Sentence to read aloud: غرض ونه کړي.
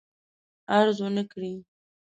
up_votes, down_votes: 0, 2